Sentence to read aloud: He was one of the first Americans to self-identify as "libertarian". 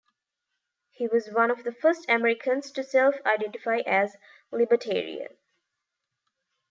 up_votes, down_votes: 2, 1